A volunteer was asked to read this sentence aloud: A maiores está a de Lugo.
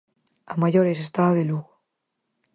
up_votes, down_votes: 4, 0